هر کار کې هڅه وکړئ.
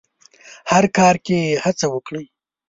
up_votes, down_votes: 2, 0